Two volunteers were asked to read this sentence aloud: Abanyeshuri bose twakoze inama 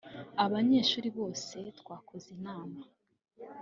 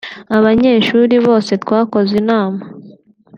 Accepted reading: second